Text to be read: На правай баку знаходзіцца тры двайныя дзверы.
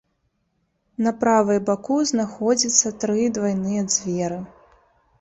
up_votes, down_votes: 0, 2